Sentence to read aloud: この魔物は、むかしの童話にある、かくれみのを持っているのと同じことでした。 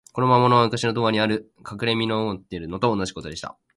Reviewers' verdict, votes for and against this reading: accepted, 2, 1